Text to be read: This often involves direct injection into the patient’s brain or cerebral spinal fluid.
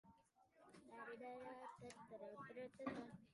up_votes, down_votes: 0, 2